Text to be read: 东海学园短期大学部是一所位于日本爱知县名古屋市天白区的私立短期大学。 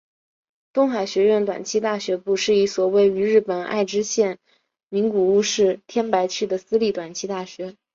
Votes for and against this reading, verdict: 2, 0, accepted